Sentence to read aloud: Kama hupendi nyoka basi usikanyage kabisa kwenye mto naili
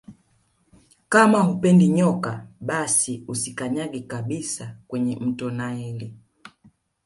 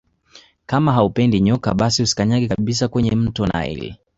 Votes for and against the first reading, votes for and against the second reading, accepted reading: 6, 0, 1, 2, first